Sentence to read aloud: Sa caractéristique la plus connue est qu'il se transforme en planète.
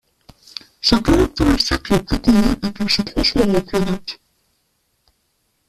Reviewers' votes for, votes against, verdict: 0, 2, rejected